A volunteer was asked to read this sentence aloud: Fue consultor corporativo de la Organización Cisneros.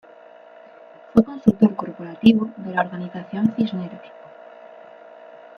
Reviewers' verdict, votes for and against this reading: rejected, 0, 2